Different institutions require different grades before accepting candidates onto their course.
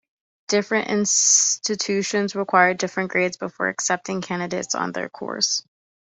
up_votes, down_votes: 2, 0